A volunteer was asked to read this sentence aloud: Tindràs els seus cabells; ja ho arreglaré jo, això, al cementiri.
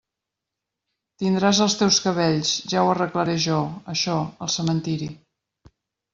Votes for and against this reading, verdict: 0, 2, rejected